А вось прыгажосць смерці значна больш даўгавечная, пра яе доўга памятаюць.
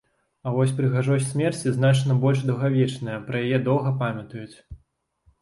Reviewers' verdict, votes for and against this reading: accepted, 3, 0